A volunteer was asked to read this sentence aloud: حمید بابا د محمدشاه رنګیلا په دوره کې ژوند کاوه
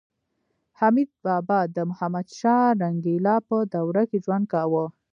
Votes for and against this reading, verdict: 0, 2, rejected